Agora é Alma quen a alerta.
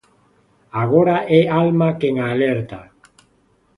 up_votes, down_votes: 3, 0